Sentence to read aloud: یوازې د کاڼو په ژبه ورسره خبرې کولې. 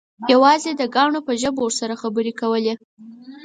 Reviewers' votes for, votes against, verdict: 4, 0, accepted